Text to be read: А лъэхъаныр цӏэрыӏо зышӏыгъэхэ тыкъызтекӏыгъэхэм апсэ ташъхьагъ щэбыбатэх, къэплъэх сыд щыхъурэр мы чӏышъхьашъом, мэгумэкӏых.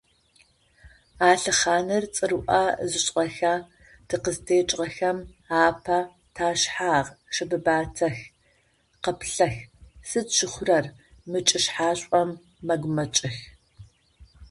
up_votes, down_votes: 0, 2